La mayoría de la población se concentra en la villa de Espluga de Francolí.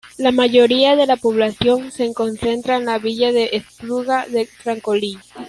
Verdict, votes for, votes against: rejected, 1, 2